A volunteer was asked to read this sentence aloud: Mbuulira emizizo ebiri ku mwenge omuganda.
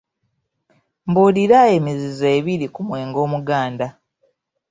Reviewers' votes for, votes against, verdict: 2, 1, accepted